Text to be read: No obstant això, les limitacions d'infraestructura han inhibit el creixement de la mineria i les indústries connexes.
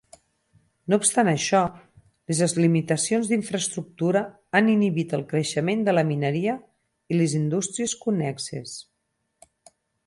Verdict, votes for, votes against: rejected, 0, 4